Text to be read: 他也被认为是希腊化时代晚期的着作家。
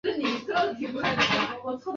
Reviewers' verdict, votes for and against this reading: rejected, 1, 2